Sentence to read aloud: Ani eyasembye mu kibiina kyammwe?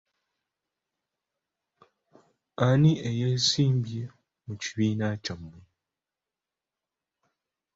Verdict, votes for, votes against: accepted, 2, 0